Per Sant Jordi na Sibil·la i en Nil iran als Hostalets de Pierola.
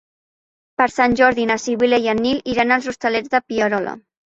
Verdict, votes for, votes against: accepted, 4, 0